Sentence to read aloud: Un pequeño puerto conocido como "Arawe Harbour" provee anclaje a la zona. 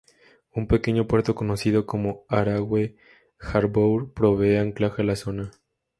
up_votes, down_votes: 2, 0